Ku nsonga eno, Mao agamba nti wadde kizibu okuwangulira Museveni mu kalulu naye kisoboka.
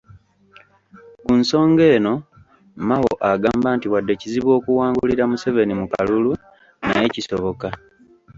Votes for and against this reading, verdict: 2, 0, accepted